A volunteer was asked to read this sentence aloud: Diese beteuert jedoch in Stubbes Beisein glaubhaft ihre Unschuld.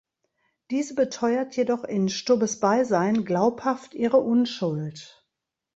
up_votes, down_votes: 2, 0